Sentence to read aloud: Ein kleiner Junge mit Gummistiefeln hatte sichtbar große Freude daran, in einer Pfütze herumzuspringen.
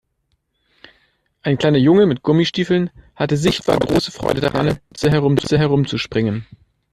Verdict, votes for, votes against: rejected, 0, 2